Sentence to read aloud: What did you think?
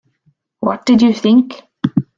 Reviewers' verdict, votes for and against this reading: accepted, 2, 0